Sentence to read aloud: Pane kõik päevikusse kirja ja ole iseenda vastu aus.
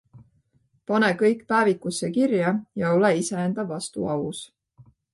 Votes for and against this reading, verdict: 2, 0, accepted